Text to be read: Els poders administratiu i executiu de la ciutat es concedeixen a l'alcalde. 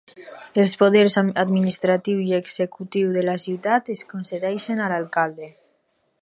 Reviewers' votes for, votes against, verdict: 0, 2, rejected